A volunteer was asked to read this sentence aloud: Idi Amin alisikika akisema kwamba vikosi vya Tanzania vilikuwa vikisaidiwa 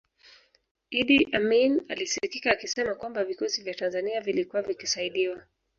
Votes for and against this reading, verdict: 4, 1, accepted